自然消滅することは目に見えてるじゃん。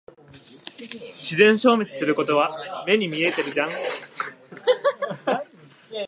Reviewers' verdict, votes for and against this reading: rejected, 0, 2